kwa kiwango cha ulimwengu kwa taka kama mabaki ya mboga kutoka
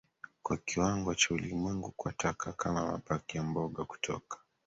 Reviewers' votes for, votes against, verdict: 2, 1, accepted